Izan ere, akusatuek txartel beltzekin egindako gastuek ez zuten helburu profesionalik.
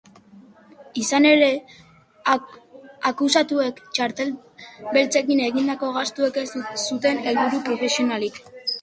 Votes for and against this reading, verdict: 0, 2, rejected